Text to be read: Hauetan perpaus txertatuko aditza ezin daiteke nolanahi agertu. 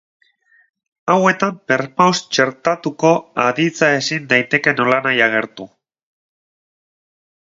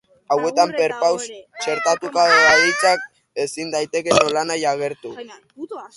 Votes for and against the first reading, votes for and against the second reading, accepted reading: 4, 0, 0, 3, first